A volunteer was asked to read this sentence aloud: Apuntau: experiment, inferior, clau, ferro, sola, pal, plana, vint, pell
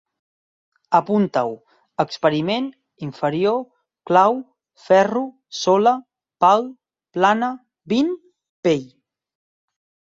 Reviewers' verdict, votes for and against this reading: accepted, 6, 0